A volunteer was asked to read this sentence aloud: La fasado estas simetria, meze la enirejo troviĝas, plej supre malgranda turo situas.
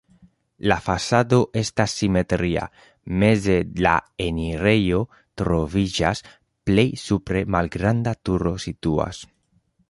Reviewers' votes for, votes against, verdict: 2, 0, accepted